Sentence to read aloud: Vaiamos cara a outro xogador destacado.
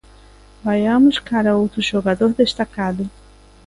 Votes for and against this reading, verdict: 2, 0, accepted